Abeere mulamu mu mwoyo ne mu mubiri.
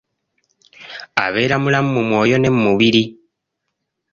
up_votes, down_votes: 0, 2